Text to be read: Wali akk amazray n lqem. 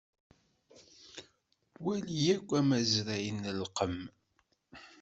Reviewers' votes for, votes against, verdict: 0, 2, rejected